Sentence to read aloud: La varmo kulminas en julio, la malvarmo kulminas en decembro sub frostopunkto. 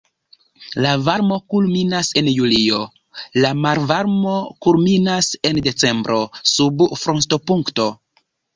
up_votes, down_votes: 0, 2